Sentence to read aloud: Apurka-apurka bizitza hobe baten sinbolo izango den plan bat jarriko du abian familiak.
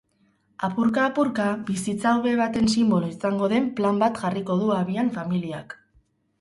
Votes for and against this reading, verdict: 6, 0, accepted